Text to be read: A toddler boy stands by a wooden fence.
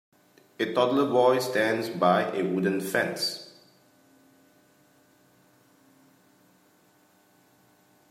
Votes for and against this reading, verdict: 2, 1, accepted